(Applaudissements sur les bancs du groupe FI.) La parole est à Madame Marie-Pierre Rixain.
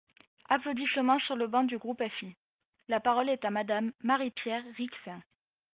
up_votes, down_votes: 2, 0